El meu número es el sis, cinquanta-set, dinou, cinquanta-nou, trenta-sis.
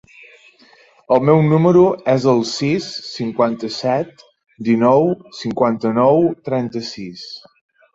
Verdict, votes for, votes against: accepted, 3, 0